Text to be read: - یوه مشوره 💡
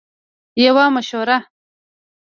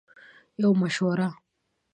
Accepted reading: second